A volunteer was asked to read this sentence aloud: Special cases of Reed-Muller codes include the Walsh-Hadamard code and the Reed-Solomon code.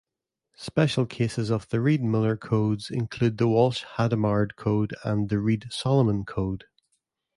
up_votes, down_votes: 0, 2